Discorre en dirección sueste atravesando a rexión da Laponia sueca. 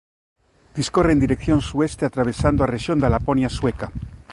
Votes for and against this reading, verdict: 2, 0, accepted